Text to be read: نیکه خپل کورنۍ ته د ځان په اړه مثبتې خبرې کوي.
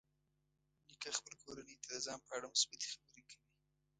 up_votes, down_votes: 1, 2